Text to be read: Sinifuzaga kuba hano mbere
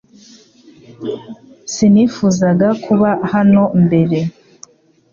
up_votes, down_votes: 2, 0